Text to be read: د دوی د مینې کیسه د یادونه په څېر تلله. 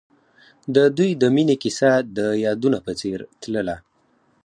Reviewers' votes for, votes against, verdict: 4, 0, accepted